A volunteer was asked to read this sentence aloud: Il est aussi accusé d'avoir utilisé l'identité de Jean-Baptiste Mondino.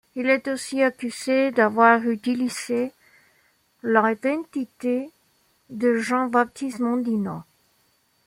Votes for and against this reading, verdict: 1, 2, rejected